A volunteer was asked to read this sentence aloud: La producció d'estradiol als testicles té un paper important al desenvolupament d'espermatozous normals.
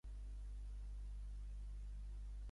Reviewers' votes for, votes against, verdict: 0, 2, rejected